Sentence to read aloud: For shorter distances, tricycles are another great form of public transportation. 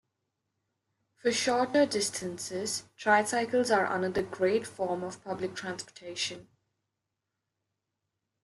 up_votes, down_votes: 1, 2